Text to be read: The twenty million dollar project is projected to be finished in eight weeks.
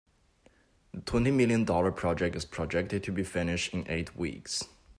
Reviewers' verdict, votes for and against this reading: rejected, 0, 2